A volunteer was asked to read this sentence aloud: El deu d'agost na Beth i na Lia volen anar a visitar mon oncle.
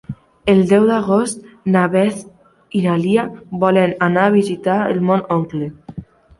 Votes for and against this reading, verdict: 1, 2, rejected